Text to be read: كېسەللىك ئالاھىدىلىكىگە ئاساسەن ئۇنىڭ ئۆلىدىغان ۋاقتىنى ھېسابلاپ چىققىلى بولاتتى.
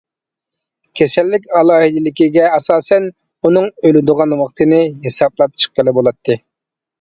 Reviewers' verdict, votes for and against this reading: accepted, 2, 0